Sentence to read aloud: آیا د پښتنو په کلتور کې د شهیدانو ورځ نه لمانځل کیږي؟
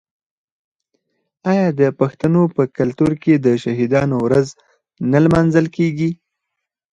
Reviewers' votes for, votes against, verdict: 4, 2, accepted